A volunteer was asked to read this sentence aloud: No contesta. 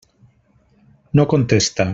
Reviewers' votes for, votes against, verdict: 3, 0, accepted